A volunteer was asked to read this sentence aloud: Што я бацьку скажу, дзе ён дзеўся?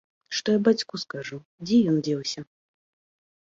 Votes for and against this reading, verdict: 2, 0, accepted